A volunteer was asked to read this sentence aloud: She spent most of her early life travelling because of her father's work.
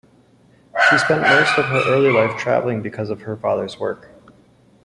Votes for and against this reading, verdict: 2, 0, accepted